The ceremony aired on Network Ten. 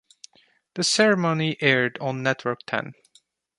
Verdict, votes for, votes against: accepted, 2, 0